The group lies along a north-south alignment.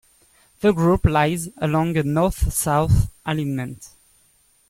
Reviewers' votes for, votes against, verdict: 0, 2, rejected